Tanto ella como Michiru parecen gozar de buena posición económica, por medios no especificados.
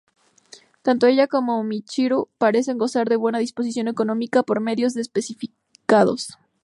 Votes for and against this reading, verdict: 0, 2, rejected